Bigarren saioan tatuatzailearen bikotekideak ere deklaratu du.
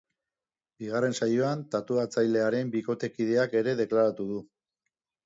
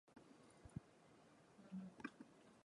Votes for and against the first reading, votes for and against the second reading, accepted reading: 4, 0, 0, 2, first